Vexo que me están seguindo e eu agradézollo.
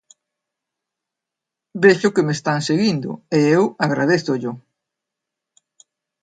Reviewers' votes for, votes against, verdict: 3, 0, accepted